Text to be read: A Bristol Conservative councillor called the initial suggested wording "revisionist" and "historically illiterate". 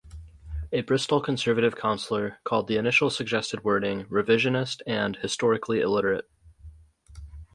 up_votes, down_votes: 4, 0